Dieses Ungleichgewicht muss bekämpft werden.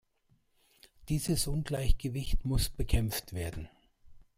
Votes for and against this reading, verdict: 2, 0, accepted